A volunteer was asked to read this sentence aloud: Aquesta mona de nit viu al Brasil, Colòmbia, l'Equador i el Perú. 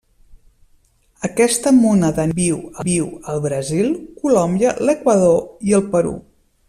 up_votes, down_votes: 1, 2